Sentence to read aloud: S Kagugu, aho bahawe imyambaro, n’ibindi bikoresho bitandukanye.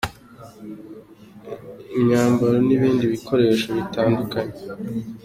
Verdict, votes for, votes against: accepted, 2, 0